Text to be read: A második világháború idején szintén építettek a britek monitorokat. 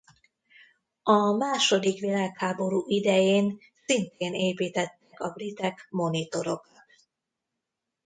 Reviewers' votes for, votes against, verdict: 0, 2, rejected